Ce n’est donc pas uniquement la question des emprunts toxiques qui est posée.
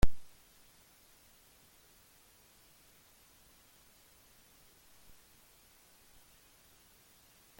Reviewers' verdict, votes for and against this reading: rejected, 0, 2